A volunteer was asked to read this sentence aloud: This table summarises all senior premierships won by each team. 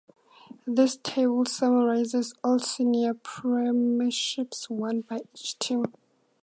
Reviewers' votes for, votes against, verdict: 2, 0, accepted